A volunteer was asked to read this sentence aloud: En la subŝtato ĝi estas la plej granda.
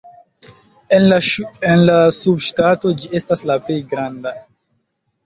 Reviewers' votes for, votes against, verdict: 1, 2, rejected